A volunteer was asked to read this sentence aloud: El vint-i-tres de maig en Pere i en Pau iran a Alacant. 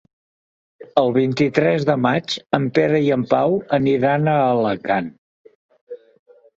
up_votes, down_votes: 0, 2